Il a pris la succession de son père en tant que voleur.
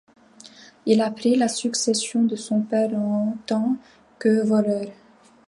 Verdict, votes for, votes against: accepted, 2, 0